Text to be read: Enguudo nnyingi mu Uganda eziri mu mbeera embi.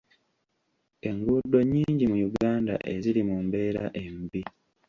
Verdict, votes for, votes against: accepted, 2, 0